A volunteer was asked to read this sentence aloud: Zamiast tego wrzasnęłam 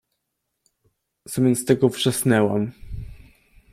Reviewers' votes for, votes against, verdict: 2, 1, accepted